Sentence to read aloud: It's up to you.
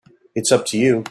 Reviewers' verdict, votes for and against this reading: accepted, 2, 0